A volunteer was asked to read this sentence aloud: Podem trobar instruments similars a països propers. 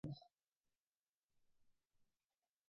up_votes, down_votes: 0, 2